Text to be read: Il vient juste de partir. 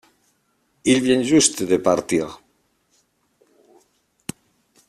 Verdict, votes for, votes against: rejected, 1, 2